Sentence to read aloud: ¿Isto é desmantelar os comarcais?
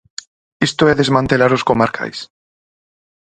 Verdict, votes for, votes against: accepted, 4, 0